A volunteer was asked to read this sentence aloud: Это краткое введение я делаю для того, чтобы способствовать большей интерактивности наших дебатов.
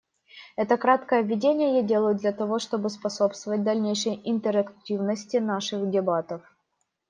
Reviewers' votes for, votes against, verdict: 0, 2, rejected